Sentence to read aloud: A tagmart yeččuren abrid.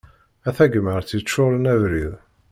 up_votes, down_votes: 2, 0